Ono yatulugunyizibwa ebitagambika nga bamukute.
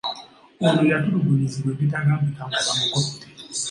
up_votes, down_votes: 2, 0